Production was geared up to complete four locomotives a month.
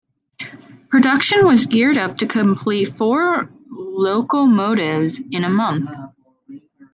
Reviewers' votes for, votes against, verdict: 1, 2, rejected